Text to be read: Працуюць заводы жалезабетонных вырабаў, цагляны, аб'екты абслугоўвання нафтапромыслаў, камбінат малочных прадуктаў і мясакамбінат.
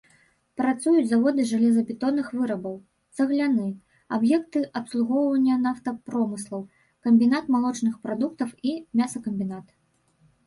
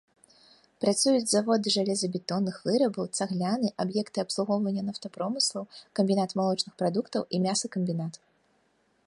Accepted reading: second